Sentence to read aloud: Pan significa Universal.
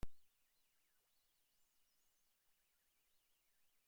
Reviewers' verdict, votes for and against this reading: rejected, 0, 2